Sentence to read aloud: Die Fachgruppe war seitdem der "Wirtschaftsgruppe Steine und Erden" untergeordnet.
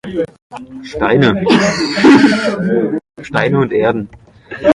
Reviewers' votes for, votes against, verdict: 0, 2, rejected